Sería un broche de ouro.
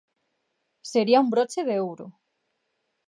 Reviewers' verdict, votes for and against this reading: accepted, 2, 0